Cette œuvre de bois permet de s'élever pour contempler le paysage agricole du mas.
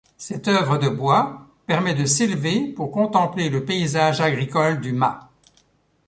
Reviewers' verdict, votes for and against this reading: accepted, 2, 0